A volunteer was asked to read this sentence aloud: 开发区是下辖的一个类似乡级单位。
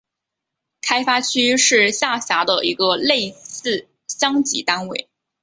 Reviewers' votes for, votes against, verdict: 2, 0, accepted